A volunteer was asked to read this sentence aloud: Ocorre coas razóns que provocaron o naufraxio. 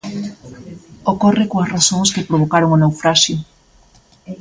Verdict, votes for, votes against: accepted, 2, 0